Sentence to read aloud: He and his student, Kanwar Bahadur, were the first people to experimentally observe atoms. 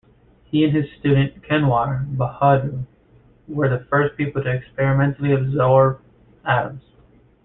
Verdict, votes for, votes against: rejected, 0, 2